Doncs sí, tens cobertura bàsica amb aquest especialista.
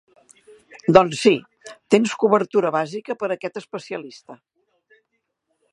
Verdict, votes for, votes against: rejected, 0, 3